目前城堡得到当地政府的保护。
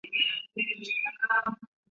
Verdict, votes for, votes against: rejected, 3, 5